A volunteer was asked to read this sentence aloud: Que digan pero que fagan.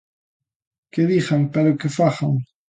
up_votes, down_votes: 2, 0